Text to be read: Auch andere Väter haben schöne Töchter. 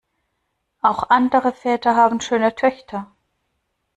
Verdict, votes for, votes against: accepted, 2, 0